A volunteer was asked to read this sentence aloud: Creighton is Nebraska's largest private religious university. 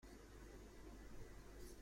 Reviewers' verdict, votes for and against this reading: rejected, 0, 2